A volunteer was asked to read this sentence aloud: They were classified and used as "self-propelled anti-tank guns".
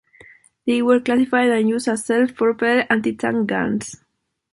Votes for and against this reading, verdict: 2, 0, accepted